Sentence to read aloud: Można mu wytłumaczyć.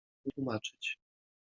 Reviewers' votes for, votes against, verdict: 0, 2, rejected